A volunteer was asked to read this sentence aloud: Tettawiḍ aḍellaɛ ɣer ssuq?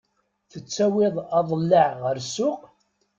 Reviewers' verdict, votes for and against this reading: accepted, 2, 0